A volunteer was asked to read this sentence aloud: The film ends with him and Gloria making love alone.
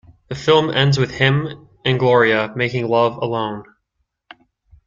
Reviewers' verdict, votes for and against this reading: accepted, 2, 0